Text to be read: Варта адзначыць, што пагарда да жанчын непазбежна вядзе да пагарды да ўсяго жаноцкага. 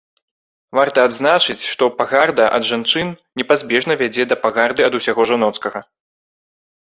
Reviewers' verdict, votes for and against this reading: rejected, 0, 2